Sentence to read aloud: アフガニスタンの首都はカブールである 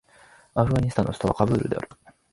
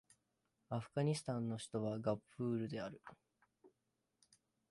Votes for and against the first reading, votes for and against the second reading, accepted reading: 2, 0, 0, 2, first